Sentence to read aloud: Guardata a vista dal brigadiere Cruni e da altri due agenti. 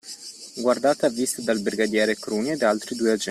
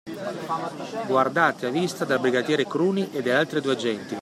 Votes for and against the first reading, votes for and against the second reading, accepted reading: 0, 2, 2, 0, second